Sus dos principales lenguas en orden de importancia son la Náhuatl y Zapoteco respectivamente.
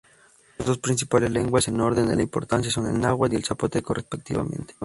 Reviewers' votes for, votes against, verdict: 0, 2, rejected